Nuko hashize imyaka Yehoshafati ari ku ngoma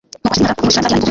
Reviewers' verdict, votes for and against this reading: rejected, 0, 2